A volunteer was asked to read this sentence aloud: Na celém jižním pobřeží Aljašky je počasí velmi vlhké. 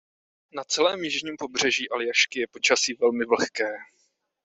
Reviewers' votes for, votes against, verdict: 2, 0, accepted